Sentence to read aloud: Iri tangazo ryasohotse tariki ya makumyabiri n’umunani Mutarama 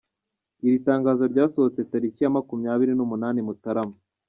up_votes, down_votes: 2, 1